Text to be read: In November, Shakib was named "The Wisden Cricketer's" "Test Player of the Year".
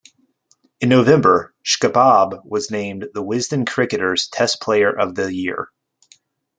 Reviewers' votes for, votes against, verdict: 1, 2, rejected